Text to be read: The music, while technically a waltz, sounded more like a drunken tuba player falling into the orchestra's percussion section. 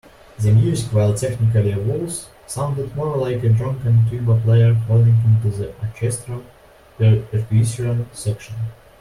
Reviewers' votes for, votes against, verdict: 1, 2, rejected